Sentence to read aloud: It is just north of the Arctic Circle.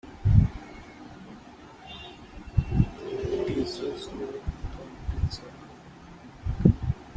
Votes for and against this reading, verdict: 1, 2, rejected